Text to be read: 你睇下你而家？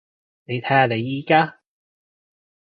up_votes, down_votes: 2, 0